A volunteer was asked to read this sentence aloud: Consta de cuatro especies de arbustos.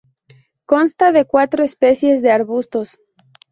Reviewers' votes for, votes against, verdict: 2, 0, accepted